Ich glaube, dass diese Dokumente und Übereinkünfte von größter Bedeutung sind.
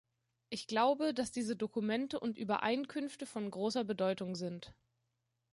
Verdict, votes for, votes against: rejected, 0, 2